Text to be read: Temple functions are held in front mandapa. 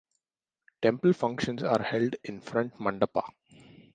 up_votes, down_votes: 2, 0